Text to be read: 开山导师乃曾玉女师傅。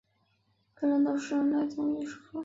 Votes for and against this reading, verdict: 1, 2, rejected